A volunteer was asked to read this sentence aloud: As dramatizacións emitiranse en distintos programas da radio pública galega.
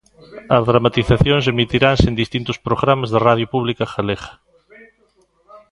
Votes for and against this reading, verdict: 2, 0, accepted